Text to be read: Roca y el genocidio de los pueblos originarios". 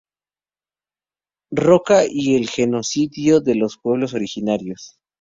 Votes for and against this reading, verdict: 2, 0, accepted